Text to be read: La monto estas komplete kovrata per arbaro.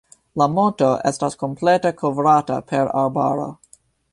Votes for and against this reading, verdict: 2, 1, accepted